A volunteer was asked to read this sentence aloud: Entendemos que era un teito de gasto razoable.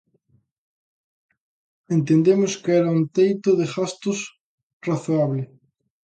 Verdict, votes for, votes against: rejected, 0, 3